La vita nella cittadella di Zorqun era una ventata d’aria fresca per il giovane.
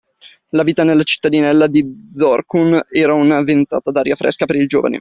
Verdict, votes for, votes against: rejected, 1, 2